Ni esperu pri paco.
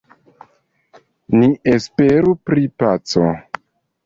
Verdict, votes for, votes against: accepted, 2, 0